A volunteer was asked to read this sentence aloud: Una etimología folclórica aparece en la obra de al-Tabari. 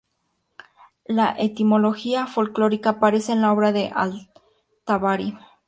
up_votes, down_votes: 2, 0